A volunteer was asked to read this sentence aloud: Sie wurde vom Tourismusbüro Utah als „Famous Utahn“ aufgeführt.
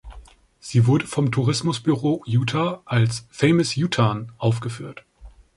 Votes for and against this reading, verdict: 3, 0, accepted